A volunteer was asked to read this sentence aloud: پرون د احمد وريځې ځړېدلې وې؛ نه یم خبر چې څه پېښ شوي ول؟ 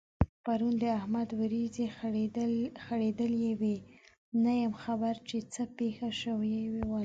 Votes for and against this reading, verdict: 0, 2, rejected